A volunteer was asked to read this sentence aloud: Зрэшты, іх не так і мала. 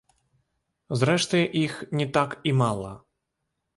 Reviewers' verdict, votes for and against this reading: rejected, 1, 2